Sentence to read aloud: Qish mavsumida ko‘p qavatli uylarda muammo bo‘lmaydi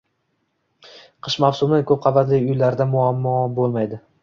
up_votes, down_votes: 1, 2